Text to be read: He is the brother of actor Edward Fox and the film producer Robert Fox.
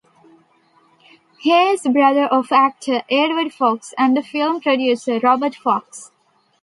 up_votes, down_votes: 2, 0